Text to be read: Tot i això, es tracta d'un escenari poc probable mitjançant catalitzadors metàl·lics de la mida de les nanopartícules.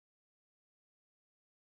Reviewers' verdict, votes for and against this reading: rejected, 0, 2